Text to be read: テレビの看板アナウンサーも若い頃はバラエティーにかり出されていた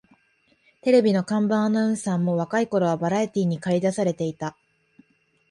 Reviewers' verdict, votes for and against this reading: accepted, 2, 0